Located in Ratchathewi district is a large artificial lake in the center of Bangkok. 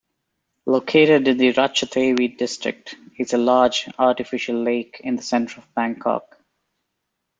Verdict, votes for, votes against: rejected, 1, 2